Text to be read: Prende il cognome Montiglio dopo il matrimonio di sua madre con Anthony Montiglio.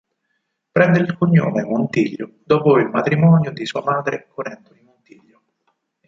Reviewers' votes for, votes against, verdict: 4, 8, rejected